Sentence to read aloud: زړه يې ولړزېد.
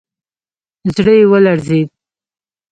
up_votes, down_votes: 0, 2